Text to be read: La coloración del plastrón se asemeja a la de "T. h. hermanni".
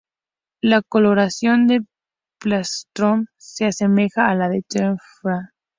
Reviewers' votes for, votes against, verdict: 0, 2, rejected